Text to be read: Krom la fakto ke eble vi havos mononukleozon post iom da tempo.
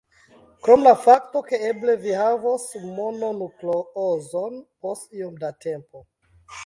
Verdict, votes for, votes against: accepted, 2, 0